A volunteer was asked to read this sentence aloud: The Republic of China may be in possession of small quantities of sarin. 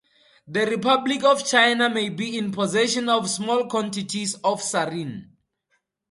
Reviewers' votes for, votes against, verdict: 4, 0, accepted